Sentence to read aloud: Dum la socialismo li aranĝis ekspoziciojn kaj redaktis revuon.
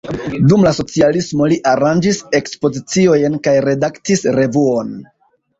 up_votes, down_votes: 2, 0